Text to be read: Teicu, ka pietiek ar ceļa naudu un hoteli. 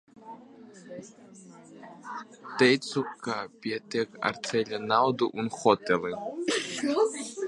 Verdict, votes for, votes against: rejected, 1, 2